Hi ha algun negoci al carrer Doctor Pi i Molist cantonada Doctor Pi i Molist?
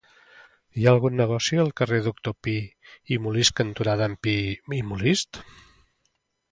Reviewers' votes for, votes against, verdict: 1, 2, rejected